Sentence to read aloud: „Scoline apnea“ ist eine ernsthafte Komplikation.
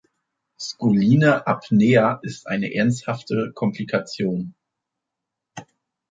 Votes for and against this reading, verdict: 2, 0, accepted